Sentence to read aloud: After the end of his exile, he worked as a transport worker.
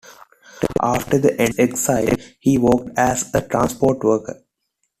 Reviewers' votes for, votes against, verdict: 0, 2, rejected